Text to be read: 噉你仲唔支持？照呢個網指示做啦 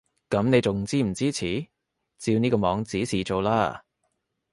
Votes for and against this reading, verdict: 1, 2, rejected